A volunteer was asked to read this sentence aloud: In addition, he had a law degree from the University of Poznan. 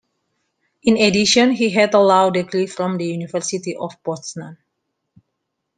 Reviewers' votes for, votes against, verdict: 2, 0, accepted